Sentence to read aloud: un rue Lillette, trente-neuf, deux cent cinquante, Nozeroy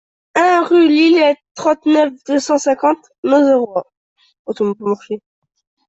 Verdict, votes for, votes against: rejected, 0, 2